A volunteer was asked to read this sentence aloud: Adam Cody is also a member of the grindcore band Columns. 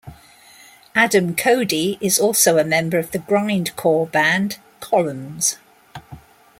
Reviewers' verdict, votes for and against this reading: accepted, 2, 0